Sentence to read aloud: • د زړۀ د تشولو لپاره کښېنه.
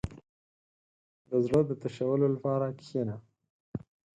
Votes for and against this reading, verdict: 6, 0, accepted